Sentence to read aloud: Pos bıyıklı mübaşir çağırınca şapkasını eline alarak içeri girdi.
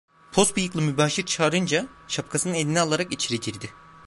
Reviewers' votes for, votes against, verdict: 2, 0, accepted